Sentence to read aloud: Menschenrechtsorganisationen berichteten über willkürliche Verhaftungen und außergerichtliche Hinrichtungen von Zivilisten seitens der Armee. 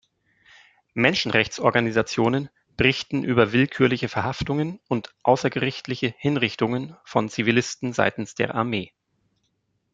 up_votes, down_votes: 2, 3